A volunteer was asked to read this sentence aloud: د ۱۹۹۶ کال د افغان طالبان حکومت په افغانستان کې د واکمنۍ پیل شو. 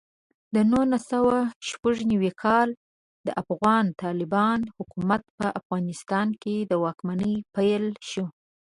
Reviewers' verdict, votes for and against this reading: rejected, 0, 2